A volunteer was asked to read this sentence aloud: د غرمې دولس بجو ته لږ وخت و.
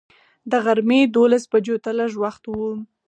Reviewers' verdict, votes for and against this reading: rejected, 2, 4